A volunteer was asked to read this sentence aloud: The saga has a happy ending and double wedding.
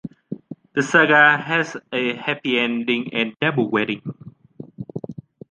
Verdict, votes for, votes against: accepted, 2, 0